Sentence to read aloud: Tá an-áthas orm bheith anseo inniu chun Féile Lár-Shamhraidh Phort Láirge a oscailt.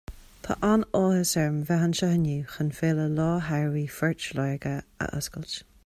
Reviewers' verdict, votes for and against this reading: rejected, 1, 2